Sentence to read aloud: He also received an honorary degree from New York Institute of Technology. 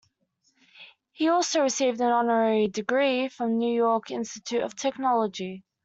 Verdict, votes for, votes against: accepted, 2, 0